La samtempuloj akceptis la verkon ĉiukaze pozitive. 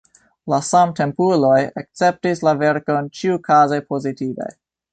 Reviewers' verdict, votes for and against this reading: rejected, 1, 2